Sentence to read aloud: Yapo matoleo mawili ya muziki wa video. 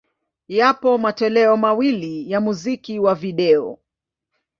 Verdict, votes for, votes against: accepted, 2, 0